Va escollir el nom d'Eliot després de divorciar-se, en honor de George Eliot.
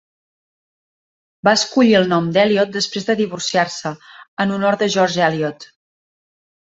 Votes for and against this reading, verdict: 2, 0, accepted